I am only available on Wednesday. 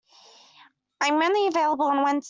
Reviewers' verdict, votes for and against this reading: rejected, 0, 2